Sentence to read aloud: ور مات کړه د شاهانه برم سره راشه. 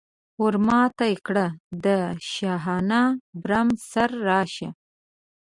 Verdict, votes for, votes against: rejected, 1, 2